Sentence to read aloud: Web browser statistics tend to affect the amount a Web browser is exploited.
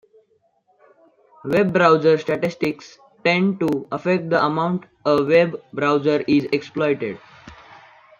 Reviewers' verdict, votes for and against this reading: accepted, 2, 0